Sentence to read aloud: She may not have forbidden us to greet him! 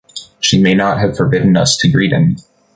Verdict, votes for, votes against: accepted, 2, 0